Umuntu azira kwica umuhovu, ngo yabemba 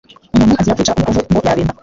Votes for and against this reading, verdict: 0, 2, rejected